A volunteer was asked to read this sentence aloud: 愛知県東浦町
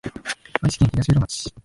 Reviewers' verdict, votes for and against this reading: rejected, 0, 2